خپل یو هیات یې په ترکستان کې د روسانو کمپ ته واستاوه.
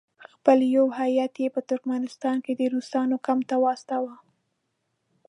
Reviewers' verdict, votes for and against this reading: rejected, 1, 2